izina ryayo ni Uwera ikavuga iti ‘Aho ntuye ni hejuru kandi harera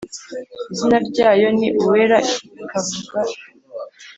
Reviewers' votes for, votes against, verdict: 0, 4, rejected